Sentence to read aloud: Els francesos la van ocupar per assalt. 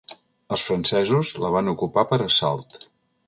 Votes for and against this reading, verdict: 2, 0, accepted